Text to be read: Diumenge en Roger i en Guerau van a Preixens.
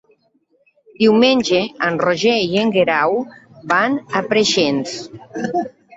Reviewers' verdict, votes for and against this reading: accepted, 3, 1